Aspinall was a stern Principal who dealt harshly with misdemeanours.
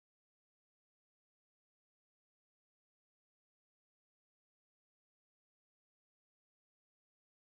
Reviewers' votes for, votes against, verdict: 0, 2, rejected